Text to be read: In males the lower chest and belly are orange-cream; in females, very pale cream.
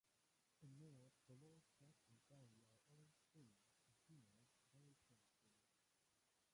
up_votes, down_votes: 1, 2